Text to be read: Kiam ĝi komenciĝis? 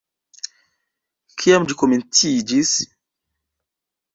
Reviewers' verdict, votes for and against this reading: rejected, 1, 2